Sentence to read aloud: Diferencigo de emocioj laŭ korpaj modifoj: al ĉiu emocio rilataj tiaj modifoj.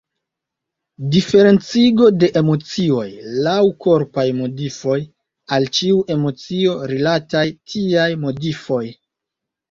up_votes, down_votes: 2, 1